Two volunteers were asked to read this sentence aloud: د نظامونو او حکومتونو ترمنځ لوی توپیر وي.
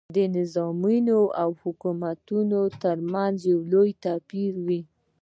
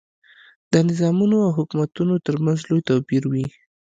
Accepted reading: second